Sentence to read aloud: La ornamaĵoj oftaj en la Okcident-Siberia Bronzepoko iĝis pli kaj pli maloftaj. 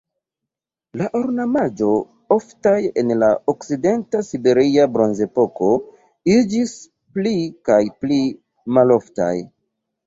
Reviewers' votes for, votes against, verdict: 1, 2, rejected